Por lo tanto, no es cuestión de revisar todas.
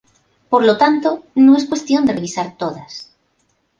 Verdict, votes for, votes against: accepted, 2, 0